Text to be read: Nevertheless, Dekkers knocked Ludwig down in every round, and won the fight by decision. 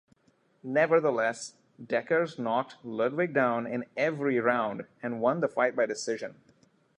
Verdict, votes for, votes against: accepted, 2, 0